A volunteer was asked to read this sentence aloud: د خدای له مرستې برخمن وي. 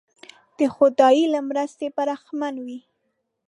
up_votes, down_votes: 0, 2